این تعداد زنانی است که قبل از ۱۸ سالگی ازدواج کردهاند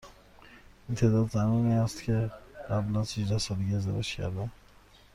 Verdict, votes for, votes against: rejected, 0, 2